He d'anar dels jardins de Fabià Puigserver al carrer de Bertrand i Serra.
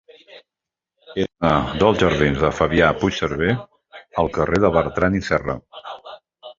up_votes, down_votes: 0, 2